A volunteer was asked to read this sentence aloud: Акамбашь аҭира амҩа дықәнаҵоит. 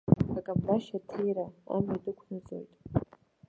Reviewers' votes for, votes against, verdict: 0, 2, rejected